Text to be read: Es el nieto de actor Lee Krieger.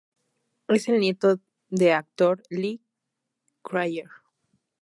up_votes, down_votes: 2, 0